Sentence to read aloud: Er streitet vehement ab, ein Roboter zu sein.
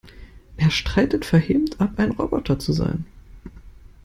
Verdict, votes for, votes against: rejected, 0, 2